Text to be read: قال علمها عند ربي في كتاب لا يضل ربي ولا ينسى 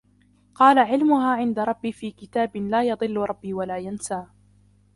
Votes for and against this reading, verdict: 2, 0, accepted